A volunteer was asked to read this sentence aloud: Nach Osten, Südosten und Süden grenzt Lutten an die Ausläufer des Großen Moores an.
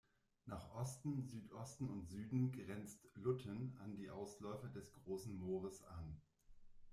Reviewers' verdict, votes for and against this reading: rejected, 1, 2